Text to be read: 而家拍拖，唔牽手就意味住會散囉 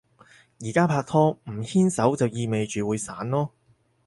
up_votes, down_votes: 4, 0